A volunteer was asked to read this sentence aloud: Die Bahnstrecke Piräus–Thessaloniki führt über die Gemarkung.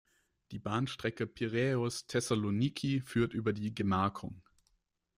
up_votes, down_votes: 2, 0